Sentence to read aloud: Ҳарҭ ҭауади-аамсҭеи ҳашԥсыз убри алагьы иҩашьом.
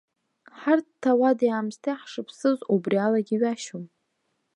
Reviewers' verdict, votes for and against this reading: accepted, 2, 1